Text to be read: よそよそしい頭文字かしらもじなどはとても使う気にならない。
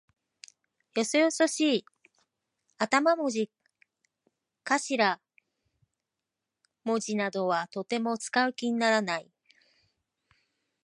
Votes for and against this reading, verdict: 1, 2, rejected